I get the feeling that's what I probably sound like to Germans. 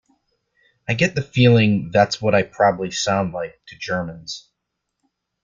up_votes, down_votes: 2, 0